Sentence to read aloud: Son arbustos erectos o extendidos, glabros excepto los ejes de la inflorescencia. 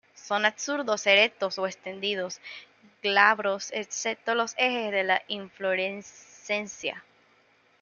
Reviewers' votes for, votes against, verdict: 1, 2, rejected